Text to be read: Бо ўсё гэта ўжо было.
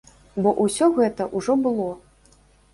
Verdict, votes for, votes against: rejected, 0, 2